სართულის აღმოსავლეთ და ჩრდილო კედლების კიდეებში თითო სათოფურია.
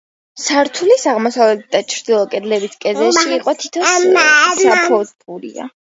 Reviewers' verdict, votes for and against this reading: rejected, 0, 2